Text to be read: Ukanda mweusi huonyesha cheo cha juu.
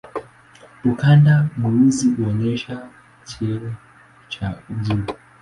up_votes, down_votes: 2, 0